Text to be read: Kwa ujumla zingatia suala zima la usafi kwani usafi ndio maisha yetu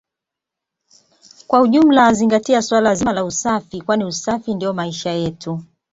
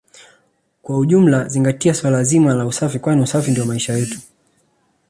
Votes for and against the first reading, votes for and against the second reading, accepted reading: 2, 1, 1, 2, first